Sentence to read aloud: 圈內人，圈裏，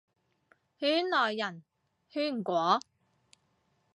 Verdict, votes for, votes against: rejected, 0, 2